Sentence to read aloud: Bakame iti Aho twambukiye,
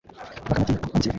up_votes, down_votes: 0, 2